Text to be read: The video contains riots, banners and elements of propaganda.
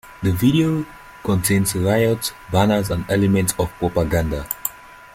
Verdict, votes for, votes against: accepted, 2, 1